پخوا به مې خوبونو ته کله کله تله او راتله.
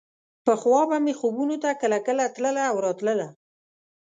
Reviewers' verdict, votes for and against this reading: accepted, 2, 0